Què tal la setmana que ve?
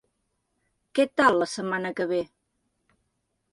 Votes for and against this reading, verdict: 2, 0, accepted